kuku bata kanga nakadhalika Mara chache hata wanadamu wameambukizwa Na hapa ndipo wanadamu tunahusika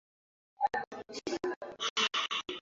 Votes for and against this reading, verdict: 0, 2, rejected